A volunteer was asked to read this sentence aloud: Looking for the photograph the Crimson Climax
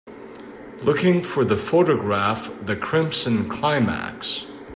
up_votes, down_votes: 2, 0